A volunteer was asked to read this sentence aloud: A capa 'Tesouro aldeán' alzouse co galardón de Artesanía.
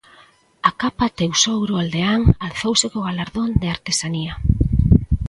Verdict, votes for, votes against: accepted, 2, 0